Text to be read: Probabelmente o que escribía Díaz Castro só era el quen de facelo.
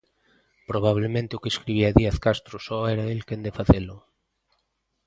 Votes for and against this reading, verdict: 0, 2, rejected